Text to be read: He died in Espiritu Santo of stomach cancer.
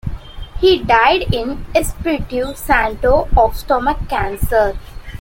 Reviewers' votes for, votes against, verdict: 2, 0, accepted